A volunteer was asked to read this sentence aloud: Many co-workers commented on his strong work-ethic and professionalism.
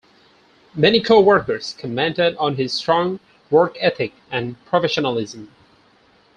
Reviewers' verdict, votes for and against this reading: accepted, 4, 0